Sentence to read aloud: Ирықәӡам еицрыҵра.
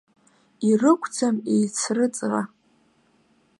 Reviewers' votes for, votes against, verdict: 2, 0, accepted